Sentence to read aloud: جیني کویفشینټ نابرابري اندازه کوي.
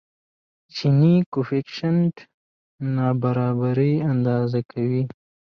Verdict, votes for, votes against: rejected, 1, 2